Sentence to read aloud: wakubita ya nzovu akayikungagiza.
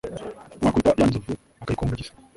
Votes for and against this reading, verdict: 1, 2, rejected